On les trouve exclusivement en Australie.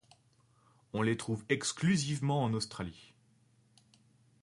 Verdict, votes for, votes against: accepted, 2, 0